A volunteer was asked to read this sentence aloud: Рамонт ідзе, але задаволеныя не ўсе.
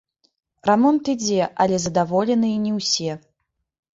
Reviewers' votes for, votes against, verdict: 1, 2, rejected